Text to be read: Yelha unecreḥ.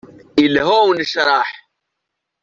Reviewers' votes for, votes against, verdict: 2, 0, accepted